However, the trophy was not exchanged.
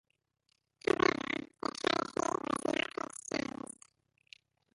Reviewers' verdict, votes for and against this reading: rejected, 0, 2